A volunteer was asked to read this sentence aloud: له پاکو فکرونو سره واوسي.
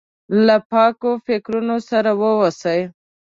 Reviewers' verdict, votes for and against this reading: accepted, 2, 0